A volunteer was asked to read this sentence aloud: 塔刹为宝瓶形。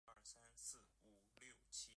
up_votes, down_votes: 0, 4